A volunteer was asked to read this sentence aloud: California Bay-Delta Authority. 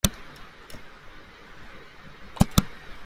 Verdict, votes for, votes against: rejected, 0, 2